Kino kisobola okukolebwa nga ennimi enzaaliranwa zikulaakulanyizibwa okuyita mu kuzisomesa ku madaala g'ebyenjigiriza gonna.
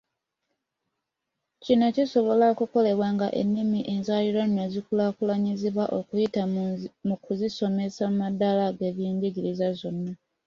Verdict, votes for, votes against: rejected, 1, 2